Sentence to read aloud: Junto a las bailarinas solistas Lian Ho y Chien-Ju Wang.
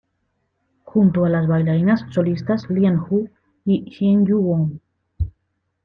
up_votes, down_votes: 2, 0